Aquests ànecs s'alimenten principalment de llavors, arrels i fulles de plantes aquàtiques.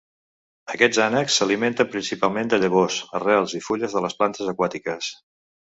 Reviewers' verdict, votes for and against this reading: rejected, 1, 2